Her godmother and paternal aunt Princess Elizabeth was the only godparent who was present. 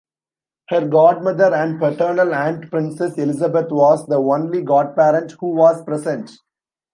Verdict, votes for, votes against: rejected, 1, 2